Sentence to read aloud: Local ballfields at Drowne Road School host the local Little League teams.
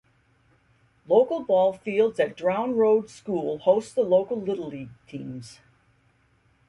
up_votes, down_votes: 2, 0